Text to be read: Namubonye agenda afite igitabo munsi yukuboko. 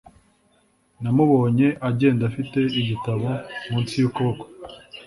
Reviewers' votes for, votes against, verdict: 2, 0, accepted